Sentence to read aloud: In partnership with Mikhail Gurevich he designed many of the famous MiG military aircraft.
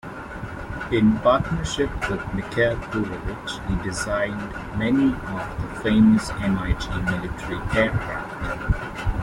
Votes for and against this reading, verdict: 0, 2, rejected